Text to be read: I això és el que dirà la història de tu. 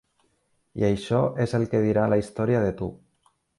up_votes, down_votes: 3, 0